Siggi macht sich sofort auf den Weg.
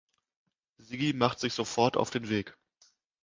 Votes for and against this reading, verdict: 2, 1, accepted